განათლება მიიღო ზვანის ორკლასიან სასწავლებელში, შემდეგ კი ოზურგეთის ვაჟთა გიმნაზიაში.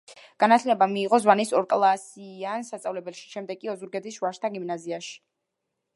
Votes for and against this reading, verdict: 0, 2, rejected